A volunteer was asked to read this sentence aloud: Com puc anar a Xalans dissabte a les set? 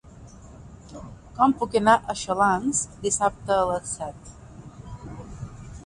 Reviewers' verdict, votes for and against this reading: accepted, 2, 1